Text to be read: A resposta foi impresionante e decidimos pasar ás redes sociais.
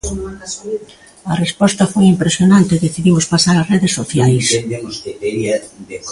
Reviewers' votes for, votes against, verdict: 2, 1, accepted